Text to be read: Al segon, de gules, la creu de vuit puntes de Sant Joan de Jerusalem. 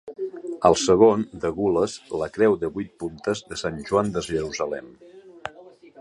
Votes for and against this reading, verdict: 3, 0, accepted